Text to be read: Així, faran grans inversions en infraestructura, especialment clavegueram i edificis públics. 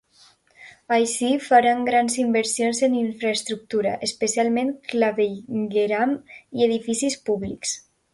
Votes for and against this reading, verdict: 2, 1, accepted